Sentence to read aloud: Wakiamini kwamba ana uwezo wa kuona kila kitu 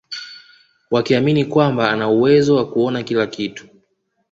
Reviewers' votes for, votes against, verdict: 2, 1, accepted